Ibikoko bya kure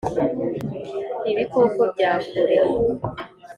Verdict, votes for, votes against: accepted, 2, 0